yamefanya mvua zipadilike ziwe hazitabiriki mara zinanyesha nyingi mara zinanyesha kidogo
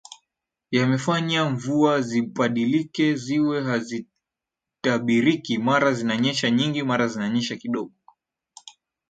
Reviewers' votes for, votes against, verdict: 0, 2, rejected